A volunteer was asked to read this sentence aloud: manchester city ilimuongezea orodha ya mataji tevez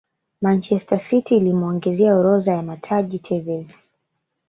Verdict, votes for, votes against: rejected, 1, 2